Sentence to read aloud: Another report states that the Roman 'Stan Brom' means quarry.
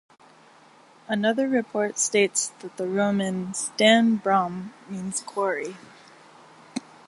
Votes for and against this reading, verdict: 2, 0, accepted